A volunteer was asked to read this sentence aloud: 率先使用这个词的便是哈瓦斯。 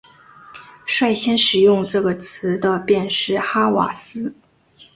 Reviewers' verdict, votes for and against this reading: accepted, 2, 0